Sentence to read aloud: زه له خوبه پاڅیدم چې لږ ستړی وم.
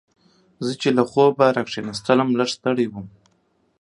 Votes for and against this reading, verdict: 1, 2, rejected